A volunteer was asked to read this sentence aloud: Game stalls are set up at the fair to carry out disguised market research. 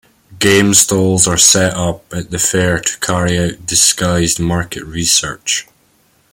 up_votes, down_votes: 0, 2